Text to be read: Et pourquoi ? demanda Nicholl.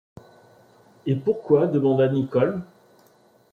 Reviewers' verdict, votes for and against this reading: accepted, 2, 0